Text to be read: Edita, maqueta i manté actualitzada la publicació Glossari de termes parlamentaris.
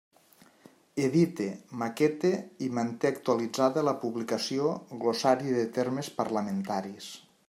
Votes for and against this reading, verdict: 1, 2, rejected